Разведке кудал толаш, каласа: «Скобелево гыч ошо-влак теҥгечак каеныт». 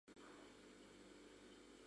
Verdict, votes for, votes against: rejected, 0, 2